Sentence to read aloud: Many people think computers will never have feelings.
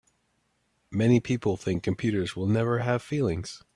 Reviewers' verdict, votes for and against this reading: accepted, 3, 0